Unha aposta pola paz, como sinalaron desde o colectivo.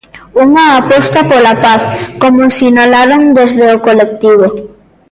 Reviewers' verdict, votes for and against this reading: rejected, 1, 2